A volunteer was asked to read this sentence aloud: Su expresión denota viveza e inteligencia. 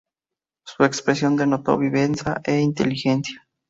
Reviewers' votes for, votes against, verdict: 0, 2, rejected